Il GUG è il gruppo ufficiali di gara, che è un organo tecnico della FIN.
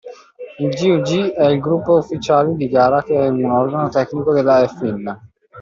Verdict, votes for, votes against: rejected, 1, 2